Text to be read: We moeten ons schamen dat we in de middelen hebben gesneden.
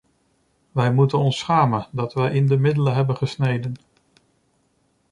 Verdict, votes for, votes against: rejected, 0, 2